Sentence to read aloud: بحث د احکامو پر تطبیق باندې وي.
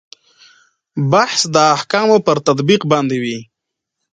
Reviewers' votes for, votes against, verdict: 2, 0, accepted